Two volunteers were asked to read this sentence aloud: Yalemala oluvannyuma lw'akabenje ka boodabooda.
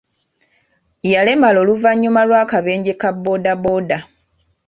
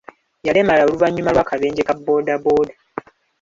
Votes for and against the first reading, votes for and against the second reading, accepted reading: 2, 0, 1, 2, first